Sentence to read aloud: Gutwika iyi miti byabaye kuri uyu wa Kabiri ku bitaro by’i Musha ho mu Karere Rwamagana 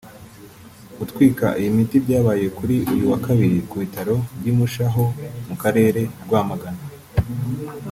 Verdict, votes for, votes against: rejected, 1, 2